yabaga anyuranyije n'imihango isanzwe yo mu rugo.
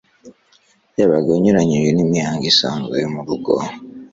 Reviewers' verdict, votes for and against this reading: accepted, 3, 0